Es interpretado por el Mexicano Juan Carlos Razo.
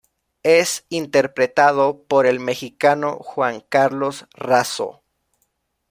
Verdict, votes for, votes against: accepted, 2, 0